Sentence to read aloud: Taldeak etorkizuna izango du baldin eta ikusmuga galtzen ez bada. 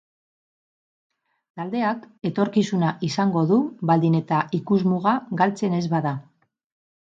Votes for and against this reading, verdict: 6, 0, accepted